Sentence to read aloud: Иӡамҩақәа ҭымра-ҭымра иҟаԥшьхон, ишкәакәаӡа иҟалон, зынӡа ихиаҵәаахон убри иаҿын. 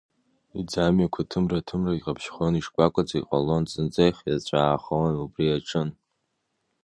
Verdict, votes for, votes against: accepted, 2, 0